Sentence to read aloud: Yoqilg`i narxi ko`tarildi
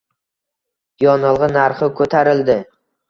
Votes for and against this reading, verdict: 1, 2, rejected